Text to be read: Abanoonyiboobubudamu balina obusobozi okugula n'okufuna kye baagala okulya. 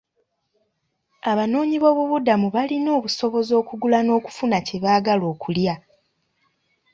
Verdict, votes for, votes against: accepted, 2, 0